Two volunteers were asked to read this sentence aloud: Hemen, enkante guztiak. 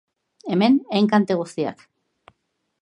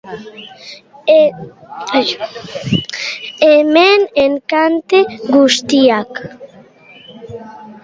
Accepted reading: first